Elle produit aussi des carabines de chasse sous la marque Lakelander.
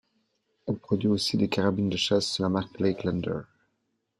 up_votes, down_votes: 2, 0